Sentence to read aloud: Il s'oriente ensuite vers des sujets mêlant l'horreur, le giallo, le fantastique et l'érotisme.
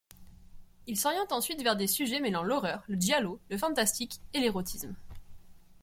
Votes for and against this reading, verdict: 2, 0, accepted